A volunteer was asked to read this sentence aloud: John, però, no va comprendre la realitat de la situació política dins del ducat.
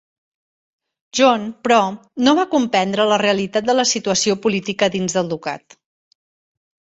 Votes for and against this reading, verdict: 3, 0, accepted